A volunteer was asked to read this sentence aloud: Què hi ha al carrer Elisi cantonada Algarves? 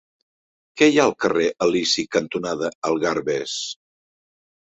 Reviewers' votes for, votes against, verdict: 6, 0, accepted